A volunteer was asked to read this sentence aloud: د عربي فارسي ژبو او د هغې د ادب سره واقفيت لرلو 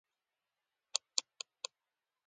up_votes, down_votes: 0, 2